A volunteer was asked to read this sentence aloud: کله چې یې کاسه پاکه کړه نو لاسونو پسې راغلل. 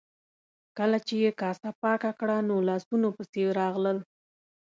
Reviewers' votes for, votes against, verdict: 2, 0, accepted